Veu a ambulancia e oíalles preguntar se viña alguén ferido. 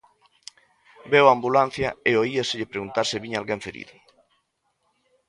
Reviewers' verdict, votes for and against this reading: rejected, 0, 2